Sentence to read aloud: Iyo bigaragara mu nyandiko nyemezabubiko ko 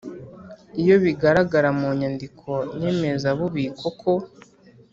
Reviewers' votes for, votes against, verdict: 4, 0, accepted